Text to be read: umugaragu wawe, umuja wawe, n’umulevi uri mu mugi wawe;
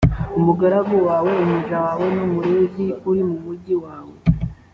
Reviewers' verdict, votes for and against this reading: accepted, 2, 0